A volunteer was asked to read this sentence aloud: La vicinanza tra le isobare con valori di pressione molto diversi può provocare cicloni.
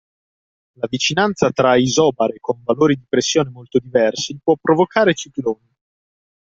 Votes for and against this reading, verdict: 0, 2, rejected